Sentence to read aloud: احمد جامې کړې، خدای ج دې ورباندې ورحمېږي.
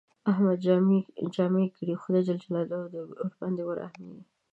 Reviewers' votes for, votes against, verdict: 0, 2, rejected